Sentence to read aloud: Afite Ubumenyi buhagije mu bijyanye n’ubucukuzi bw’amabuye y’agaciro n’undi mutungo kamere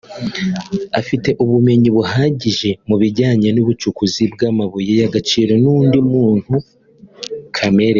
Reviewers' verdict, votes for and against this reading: rejected, 0, 2